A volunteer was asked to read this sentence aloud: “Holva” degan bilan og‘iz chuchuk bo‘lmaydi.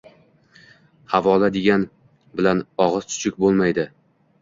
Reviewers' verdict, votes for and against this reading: rejected, 1, 2